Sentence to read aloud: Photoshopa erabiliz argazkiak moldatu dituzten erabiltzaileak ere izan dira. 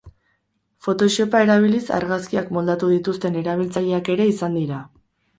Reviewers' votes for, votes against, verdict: 2, 0, accepted